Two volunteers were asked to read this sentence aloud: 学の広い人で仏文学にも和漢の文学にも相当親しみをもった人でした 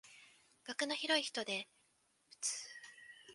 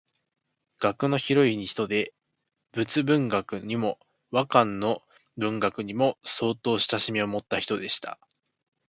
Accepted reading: second